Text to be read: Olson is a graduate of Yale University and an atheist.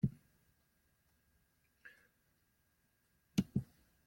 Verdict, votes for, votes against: rejected, 0, 2